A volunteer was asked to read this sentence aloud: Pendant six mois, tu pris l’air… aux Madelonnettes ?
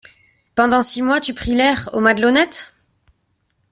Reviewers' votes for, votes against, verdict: 2, 0, accepted